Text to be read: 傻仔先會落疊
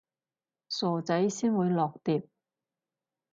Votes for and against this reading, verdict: 2, 2, rejected